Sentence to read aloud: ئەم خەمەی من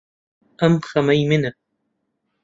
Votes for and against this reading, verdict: 0, 2, rejected